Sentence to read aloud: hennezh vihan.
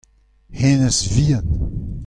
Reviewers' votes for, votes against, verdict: 2, 0, accepted